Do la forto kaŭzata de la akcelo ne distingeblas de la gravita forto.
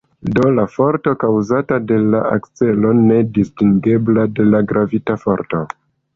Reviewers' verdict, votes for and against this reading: accepted, 2, 0